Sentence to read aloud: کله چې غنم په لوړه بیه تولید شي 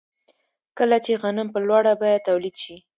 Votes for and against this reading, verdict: 2, 0, accepted